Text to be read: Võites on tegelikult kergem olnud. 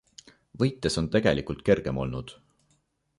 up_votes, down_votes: 2, 0